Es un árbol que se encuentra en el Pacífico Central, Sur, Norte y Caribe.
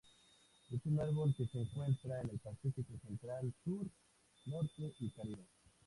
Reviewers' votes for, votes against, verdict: 0, 4, rejected